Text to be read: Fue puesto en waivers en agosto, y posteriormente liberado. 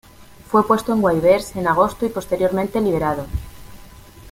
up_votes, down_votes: 2, 0